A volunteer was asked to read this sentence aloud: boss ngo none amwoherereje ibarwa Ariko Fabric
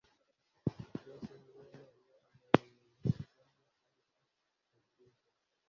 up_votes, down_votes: 1, 2